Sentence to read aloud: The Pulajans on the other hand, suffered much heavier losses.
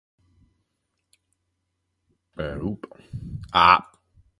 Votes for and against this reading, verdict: 0, 2, rejected